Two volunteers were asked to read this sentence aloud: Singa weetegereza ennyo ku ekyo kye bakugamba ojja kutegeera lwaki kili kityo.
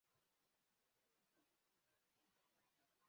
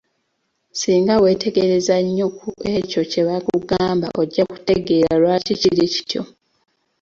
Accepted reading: second